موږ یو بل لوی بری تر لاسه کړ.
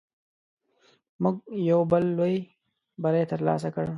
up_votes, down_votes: 2, 0